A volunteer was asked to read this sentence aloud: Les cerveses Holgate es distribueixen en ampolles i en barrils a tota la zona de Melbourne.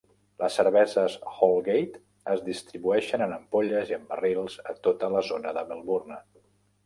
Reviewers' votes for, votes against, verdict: 3, 0, accepted